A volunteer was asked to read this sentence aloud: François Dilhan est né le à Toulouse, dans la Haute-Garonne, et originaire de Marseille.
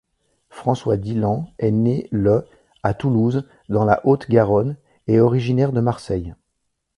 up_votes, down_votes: 2, 0